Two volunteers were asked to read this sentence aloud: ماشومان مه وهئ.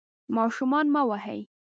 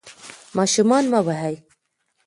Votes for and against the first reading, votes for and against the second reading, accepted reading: 1, 2, 2, 0, second